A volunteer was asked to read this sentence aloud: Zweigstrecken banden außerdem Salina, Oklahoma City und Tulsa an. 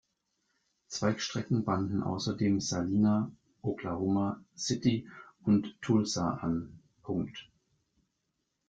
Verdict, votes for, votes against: rejected, 1, 2